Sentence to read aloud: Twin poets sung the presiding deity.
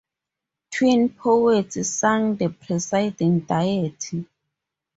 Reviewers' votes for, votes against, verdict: 0, 2, rejected